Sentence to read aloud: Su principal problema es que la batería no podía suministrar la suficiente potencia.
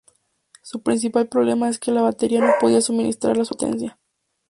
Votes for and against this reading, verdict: 2, 0, accepted